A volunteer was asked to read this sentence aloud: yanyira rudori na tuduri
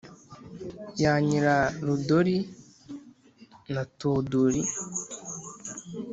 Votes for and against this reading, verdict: 2, 0, accepted